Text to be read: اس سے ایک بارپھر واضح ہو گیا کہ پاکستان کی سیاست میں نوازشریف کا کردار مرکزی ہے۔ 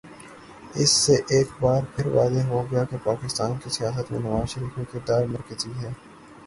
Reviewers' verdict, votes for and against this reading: accepted, 3, 0